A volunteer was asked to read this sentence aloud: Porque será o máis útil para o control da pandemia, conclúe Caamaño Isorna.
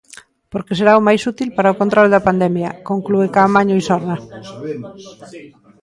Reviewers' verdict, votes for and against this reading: rejected, 1, 2